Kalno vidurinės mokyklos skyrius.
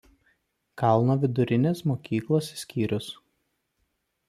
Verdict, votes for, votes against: accepted, 2, 0